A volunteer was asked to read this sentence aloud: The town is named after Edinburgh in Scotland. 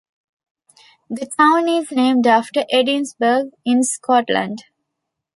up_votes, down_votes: 1, 2